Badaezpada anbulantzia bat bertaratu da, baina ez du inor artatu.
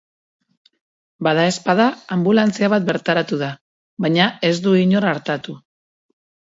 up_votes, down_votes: 2, 0